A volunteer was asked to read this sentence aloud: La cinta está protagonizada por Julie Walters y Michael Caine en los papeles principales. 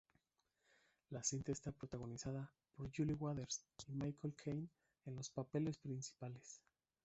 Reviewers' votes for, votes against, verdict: 0, 2, rejected